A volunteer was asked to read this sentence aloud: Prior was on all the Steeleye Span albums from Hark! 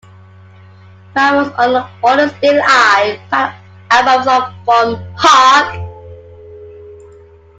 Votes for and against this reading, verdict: 0, 2, rejected